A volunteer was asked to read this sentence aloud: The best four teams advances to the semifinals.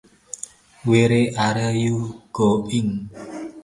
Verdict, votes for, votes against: rejected, 0, 2